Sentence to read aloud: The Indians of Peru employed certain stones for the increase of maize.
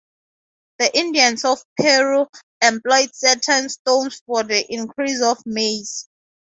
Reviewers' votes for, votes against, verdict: 2, 0, accepted